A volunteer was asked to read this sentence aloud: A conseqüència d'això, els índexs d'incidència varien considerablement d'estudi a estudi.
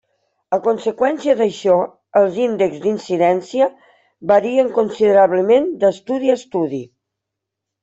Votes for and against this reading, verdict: 3, 0, accepted